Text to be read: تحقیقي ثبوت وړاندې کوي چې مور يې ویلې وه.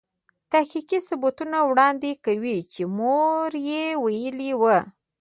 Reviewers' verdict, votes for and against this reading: rejected, 0, 2